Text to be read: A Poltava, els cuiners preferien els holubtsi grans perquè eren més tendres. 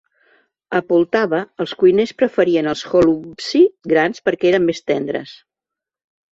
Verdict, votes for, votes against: accepted, 2, 0